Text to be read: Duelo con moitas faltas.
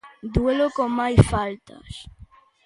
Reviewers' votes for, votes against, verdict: 0, 2, rejected